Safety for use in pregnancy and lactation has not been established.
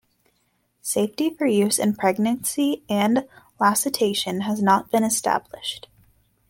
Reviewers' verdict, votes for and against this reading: rejected, 0, 2